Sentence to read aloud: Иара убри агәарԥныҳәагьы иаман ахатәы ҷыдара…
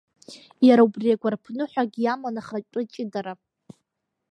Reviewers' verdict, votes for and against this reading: rejected, 1, 2